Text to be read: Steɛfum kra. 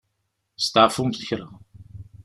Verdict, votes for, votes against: rejected, 0, 2